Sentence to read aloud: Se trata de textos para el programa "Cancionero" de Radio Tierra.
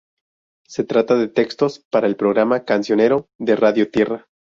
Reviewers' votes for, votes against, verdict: 2, 0, accepted